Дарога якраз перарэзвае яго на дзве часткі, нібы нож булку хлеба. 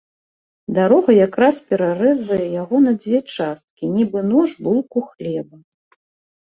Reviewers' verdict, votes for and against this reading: accepted, 2, 0